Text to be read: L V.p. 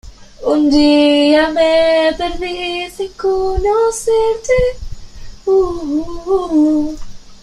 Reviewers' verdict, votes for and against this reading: rejected, 0, 2